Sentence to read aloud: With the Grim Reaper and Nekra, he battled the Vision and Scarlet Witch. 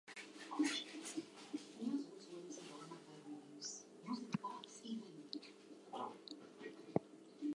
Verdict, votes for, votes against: rejected, 0, 2